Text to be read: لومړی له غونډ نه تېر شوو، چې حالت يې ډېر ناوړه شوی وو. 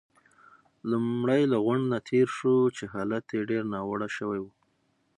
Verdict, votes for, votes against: accepted, 6, 0